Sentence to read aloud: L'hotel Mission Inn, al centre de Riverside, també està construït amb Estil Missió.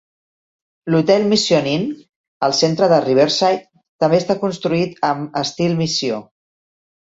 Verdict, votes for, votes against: accepted, 4, 0